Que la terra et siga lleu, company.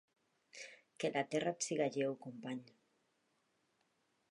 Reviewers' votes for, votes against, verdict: 2, 0, accepted